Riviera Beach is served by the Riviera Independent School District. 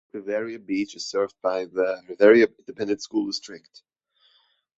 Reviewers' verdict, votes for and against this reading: accepted, 2, 0